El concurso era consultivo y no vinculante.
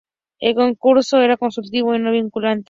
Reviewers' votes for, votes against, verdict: 0, 4, rejected